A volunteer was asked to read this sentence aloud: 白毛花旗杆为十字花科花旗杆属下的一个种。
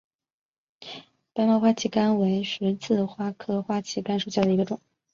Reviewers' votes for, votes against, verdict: 3, 0, accepted